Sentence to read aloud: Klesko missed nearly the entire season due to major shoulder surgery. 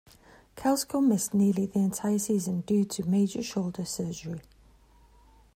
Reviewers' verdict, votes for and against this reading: rejected, 0, 2